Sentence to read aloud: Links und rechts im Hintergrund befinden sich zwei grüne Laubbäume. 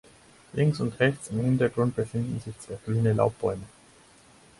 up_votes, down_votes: 2, 4